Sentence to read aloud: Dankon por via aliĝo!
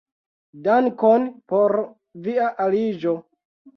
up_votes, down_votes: 2, 1